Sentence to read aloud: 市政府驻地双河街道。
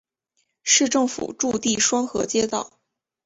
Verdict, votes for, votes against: rejected, 1, 2